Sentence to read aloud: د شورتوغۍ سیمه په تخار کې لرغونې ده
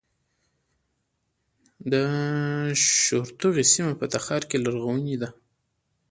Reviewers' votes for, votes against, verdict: 0, 2, rejected